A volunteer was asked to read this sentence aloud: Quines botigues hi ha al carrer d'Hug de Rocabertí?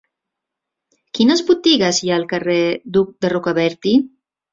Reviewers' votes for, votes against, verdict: 0, 2, rejected